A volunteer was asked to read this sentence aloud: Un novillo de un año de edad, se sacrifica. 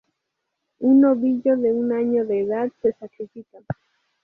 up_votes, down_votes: 2, 0